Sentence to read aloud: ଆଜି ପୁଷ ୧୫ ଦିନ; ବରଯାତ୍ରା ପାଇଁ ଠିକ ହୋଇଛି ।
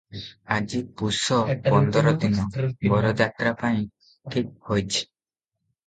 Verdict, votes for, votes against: rejected, 0, 2